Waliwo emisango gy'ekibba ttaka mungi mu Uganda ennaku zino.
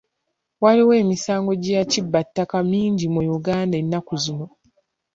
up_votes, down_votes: 2, 0